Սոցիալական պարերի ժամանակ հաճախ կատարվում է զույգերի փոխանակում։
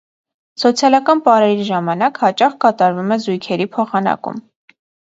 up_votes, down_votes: 2, 0